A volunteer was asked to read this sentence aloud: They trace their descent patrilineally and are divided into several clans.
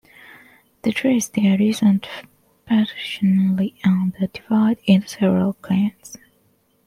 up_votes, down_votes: 0, 2